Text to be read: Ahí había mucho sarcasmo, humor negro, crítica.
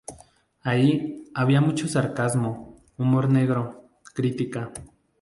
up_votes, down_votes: 0, 2